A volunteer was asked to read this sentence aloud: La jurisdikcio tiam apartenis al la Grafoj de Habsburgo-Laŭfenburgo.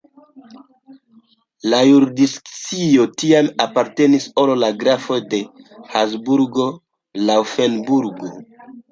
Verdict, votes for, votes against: rejected, 0, 2